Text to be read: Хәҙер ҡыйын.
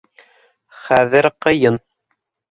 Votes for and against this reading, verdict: 2, 0, accepted